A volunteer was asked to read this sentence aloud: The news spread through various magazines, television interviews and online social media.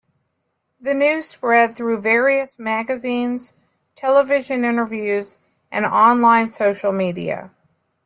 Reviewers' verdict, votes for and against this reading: accepted, 3, 0